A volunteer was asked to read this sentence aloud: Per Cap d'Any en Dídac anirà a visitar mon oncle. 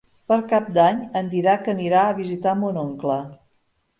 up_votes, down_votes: 1, 2